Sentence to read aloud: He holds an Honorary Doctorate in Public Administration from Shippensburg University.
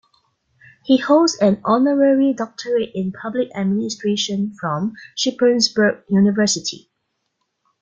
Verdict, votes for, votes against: accepted, 2, 0